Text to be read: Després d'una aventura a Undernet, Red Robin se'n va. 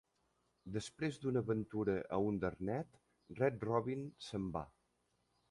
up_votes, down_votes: 2, 0